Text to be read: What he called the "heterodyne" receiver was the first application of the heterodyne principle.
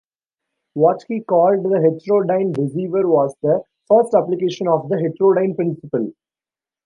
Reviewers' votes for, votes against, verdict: 0, 2, rejected